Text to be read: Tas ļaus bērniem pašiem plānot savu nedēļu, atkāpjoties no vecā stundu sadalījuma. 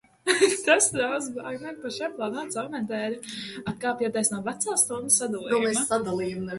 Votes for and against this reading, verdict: 0, 2, rejected